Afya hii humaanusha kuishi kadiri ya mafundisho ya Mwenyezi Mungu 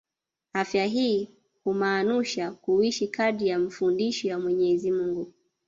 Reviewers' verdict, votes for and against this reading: rejected, 1, 2